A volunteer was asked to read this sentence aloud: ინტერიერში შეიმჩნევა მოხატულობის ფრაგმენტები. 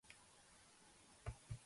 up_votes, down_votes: 0, 5